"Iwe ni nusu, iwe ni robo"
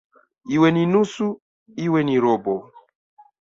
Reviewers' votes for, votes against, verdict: 2, 0, accepted